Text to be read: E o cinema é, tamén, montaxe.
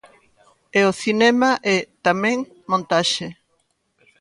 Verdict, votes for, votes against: rejected, 1, 2